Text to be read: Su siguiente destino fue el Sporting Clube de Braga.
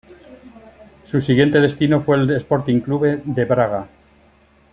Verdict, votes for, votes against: accepted, 2, 0